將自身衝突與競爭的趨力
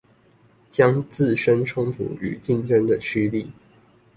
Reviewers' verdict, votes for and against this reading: accepted, 2, 0